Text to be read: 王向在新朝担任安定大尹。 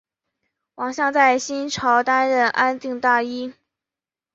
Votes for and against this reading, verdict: 2, 0, accepted